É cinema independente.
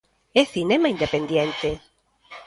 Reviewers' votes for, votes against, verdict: 0, 2, rejected